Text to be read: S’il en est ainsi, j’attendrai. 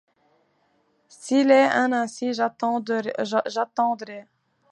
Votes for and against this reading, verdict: 1, 2, rejected